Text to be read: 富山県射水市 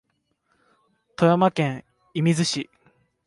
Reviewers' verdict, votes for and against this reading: accepted, 2, 0